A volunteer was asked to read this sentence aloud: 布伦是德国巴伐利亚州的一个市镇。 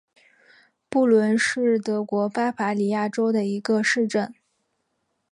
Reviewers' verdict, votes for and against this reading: accepted, 2, 0